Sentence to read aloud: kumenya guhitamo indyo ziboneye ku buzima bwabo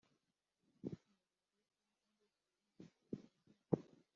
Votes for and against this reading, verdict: 0, 2, rejected